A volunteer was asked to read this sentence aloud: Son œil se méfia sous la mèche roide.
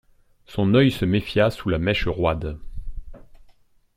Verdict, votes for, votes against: accepted, 2, 0